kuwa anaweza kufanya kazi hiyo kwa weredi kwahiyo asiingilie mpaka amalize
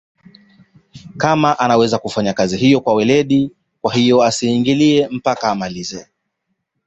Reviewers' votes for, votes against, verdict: 2, 0, accepted